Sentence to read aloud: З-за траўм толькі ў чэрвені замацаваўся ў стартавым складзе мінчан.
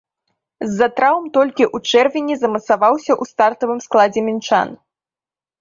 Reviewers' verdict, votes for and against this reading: accepted, 2, 0